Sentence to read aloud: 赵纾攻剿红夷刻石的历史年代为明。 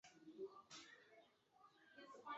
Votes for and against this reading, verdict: 0, 2, rejected